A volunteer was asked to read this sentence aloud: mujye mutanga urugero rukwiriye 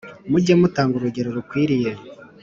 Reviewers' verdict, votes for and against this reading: accepted, 2, 0